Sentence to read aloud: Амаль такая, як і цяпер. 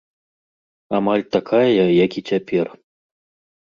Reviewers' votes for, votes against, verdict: 0, 2, rejected